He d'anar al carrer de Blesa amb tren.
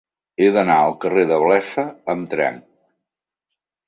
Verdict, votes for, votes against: rejected, 1, 2